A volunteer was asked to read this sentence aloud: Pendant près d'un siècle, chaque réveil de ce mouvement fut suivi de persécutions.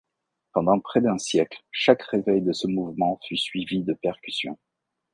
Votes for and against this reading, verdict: 1, 2, rejected